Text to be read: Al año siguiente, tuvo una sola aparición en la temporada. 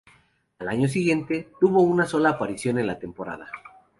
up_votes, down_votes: 2, 0